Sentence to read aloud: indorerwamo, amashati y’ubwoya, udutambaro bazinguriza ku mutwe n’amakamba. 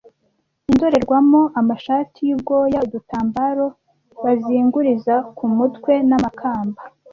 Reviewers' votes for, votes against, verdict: 0, 2, rejected